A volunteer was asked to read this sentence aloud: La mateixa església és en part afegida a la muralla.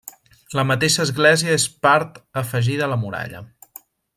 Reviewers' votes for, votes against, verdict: 0, 2, rejected